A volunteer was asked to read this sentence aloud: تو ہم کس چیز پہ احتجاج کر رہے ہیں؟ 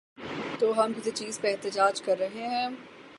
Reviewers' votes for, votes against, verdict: 0, 3, rejected